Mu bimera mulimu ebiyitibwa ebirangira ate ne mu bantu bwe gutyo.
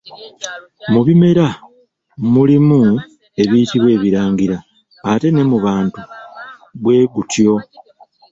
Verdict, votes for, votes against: rejected, 1, 2